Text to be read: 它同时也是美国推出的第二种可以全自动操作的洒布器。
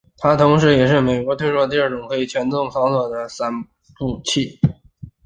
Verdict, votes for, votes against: accepted, 2, 1